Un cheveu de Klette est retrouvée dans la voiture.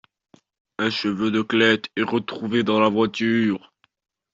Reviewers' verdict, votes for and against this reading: accepted, 2, 0